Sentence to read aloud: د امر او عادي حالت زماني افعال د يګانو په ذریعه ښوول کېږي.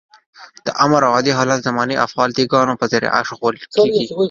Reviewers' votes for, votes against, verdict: 1, 2, rejected